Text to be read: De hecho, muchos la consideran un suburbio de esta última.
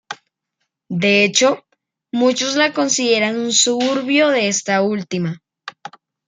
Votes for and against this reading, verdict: 2, 0, accepted